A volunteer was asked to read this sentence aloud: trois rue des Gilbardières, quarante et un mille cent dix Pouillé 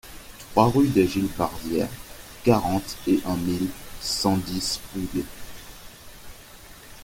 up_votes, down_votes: 1, 2